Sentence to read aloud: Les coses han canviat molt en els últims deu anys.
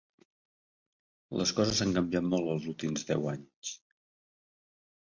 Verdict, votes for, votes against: rejected, 0, 2